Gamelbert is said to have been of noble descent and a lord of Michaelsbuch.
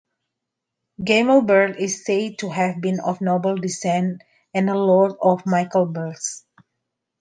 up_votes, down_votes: 2, 1